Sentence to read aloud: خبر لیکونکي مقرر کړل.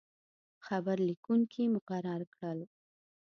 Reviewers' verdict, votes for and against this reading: accepted, 2, 1